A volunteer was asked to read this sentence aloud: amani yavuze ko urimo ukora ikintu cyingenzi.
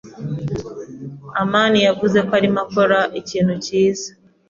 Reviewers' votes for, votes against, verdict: 1, 2, rejected